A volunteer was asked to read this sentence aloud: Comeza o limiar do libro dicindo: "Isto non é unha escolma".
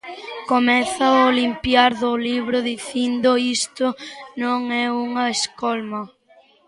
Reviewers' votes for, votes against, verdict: 0, 2, rejected